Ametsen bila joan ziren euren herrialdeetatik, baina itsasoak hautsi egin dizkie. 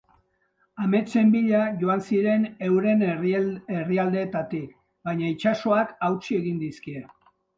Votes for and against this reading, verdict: 0, 2, rejected